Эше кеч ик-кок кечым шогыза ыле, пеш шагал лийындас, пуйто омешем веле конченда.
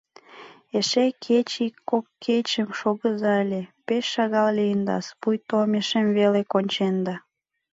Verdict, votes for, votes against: accepted, 2, 0